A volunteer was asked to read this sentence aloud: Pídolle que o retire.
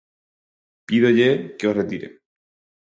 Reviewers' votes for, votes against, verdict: 4, 0, accepted